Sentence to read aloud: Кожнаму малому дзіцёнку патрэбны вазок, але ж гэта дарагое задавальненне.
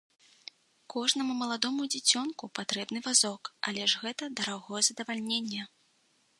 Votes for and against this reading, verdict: 0, 2, rejected